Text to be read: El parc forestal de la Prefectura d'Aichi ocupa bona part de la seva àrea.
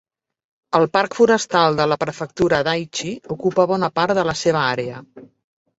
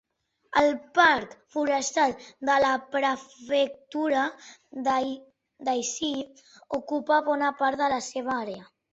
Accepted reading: first